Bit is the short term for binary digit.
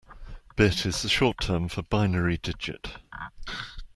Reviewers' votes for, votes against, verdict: 2, 1, accepted